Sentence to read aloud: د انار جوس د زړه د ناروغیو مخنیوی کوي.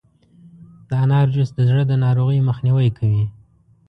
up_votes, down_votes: 2, 0